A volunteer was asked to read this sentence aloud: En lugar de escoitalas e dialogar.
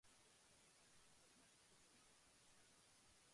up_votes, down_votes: 1, 2